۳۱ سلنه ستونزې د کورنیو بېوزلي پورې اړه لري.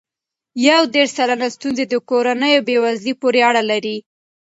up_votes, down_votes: 0, 2